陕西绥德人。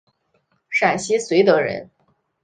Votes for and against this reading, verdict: 3, 0, accepted